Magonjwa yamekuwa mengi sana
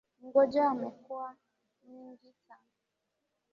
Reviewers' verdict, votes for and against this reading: rejected, 0, 2